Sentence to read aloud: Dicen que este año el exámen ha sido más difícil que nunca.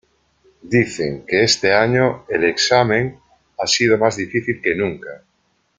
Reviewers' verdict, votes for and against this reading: accepted, 2, 0